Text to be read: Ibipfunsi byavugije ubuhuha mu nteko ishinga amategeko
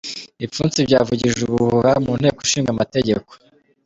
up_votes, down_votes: 1, 2